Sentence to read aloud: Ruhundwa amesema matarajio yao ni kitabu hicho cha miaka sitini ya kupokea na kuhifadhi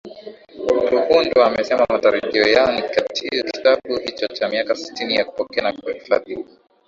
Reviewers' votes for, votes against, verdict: 0, 2, rejected